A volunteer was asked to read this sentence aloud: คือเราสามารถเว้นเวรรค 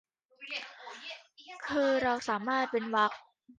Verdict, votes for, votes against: accepted, 2, 1